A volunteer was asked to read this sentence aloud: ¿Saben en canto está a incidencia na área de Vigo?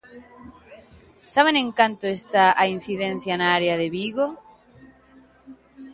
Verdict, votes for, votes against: accepted, 2, 1